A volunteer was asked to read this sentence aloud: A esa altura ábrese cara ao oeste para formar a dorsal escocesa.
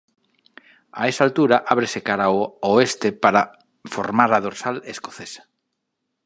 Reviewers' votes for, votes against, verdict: 2, 3, rejected